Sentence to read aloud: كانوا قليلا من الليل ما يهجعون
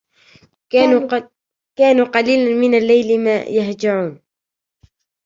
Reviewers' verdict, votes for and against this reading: rejected, 0, 2